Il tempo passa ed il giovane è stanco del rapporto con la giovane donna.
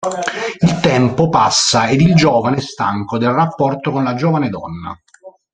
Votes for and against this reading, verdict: 0, 2, rejected